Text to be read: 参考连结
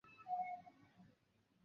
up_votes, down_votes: 0, 3